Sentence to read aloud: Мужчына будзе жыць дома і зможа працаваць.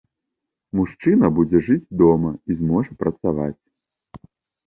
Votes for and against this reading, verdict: 2, 0, accepted